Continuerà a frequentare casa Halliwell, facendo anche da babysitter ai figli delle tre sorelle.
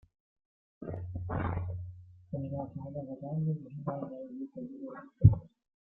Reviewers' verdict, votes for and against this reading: rejected, 0, 2